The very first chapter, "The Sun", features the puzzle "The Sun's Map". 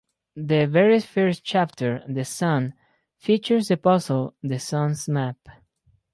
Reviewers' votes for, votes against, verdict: 4, 0, accepted